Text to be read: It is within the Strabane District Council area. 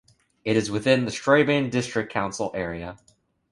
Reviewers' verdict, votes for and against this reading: accepted, 3, 0